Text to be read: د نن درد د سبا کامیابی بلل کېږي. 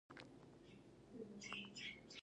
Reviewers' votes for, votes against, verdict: 1, 2, rejected